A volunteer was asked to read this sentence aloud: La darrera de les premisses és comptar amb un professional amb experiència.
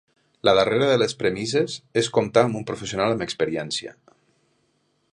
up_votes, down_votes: 2, 0